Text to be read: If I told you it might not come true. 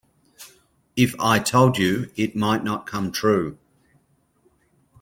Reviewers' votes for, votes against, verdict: 2, 0, accepted